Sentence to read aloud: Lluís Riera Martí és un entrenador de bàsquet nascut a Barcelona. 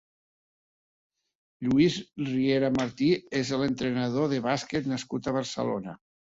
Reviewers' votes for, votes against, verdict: 1, 2, rejected